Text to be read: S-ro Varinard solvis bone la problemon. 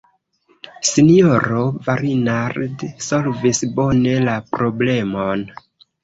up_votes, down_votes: 1, 2